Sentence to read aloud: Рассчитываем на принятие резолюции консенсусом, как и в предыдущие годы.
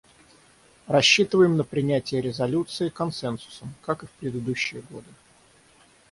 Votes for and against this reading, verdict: 3, 3, rejected